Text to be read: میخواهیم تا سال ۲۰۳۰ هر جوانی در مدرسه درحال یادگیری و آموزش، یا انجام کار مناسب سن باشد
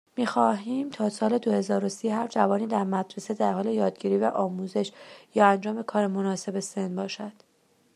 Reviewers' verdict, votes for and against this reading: rejected, 0, 2